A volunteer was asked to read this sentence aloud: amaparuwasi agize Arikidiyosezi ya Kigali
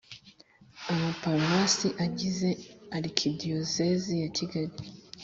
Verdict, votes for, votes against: accepted, 2, 0